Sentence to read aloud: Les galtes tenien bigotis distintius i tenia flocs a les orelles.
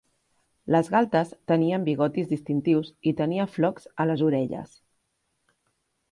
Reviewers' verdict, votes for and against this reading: accepted, 5, 0